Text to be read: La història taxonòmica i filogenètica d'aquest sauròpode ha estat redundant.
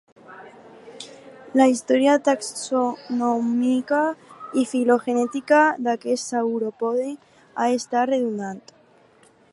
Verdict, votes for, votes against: rejected, 0, 2